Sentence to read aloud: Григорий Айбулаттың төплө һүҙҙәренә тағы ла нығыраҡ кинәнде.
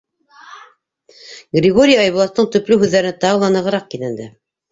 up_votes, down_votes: 0, 2